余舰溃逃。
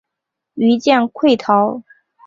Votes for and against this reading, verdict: 1, 3, rejected